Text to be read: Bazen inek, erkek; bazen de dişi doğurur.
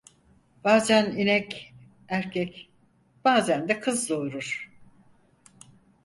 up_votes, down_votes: 2, 4